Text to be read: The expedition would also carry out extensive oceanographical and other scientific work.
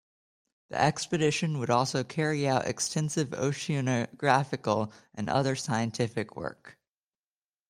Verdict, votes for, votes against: rejected, 0, 2